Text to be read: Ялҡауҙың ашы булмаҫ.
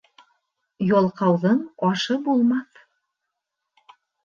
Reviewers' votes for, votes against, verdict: 3, 0, accepted